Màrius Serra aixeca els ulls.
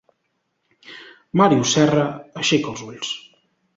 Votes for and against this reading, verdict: 2, 0, accepted